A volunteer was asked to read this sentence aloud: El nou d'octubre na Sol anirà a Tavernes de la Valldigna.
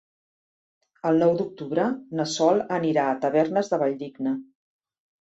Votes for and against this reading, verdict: 0, 2, rejected